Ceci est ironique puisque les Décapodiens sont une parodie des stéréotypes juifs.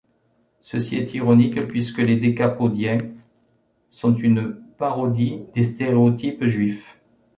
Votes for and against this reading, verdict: 2, 0, accepted